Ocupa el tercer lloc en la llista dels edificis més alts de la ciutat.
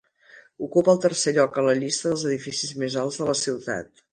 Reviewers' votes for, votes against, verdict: 3, 0, accepted